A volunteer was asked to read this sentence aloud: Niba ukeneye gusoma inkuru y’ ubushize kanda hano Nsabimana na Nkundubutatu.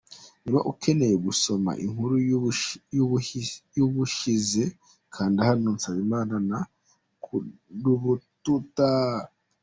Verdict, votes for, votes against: rejected, 0, 2